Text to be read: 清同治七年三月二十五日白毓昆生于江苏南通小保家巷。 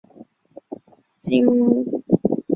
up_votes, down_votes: 2, 0